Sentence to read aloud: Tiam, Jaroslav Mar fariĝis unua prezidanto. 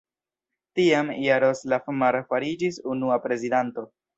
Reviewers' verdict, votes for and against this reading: accepted, 2, 0